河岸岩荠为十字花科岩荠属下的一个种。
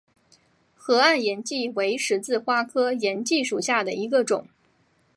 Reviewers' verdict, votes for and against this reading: accepted, 5, 1